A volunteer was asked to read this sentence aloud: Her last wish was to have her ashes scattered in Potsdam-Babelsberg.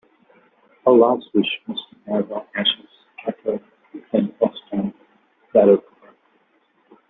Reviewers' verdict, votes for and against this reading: rejected, 0, 2